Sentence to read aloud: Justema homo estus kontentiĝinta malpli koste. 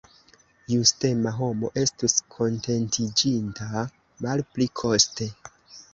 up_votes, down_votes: 1, 2